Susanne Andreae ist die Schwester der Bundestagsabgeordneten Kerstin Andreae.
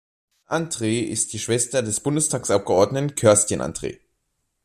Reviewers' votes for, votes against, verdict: 0, 2, rejected